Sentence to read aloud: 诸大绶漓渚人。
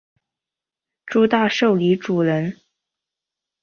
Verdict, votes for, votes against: accepted, 6, 0